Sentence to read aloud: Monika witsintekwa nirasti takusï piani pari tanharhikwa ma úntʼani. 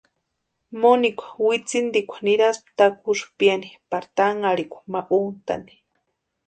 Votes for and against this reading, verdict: 2, 0, accepted